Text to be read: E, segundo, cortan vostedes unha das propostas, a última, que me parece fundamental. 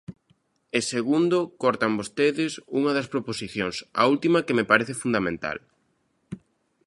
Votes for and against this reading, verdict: 0, 3, rejected